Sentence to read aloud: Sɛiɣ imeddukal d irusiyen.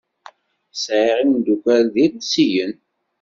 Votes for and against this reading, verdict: 2, 0, accepted